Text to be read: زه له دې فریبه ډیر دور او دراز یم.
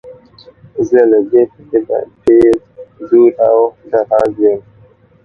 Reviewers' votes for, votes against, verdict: 0, 2, rejected